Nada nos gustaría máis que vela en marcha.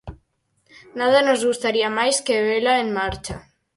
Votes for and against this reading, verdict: 4, 0, accepted